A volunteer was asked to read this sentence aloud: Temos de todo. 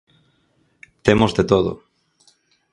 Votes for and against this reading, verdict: 4, 0, accepted